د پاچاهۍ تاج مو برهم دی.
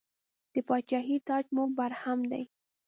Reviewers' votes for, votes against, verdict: 2, 0, accepted